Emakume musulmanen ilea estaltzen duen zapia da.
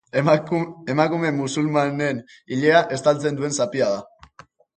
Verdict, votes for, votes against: rejected, 1, 3